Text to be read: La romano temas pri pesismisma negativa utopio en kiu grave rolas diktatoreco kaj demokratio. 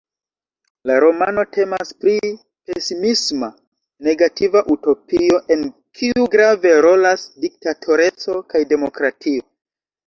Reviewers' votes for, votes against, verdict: 0, 2, rejected